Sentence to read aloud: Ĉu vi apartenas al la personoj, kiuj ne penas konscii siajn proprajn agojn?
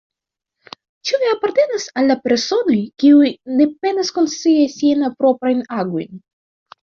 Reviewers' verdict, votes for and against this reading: accepted, 2, 0